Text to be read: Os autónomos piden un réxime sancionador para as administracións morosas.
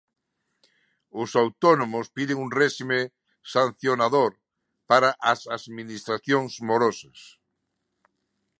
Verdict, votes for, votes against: rejected, 0, 2